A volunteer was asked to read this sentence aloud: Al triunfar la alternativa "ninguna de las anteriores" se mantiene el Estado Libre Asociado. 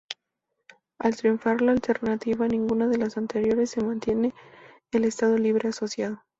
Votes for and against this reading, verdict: 0, 2, rejected